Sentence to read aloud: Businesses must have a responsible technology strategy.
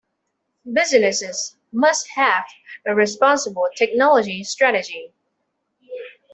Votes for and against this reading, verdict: 2, 0, accepted